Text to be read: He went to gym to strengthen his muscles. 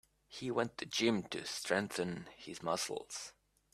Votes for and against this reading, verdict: 3, 0, accepted